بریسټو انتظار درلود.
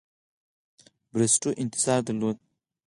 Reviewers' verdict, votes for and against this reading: accepted, 4, 0